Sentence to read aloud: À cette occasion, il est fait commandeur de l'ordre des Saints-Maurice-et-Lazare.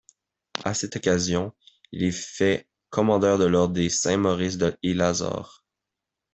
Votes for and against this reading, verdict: 0, 2, rejected